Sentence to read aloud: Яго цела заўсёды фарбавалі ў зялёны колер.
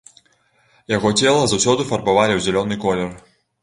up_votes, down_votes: 3, 0